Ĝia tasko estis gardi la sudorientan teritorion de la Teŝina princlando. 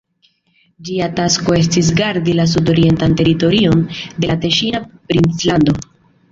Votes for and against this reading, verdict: 2, 0, accepted